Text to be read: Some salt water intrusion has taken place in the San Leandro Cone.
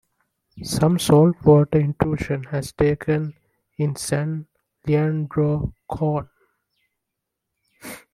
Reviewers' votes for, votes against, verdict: 0, 2, rejected